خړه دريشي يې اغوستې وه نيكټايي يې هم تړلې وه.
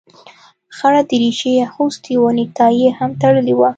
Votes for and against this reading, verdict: 3, 0, accepted